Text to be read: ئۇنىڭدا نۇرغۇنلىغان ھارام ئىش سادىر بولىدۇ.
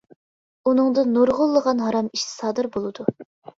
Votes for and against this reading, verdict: 2, 0, accepted